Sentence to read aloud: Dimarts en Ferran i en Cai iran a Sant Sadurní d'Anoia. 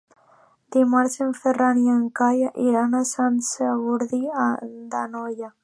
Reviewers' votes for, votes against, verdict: 0, 2, rejected